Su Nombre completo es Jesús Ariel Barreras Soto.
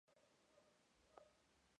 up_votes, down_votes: 0, 2